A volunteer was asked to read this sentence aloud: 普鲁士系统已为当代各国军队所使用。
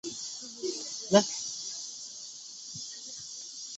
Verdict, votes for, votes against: rejected, 0, 6